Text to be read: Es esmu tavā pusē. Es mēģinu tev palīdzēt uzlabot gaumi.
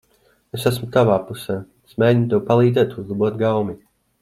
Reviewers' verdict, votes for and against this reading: accepted, 2, 0